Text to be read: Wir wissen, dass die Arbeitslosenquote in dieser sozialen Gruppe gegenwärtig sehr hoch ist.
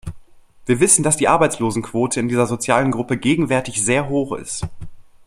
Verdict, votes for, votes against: accepted, 2, 0